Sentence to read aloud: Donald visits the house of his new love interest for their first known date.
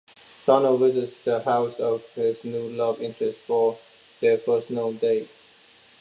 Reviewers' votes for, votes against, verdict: 2, 1, accepted